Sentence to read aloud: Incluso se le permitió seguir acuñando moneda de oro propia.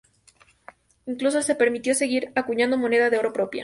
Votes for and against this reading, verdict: 0, 2, rejected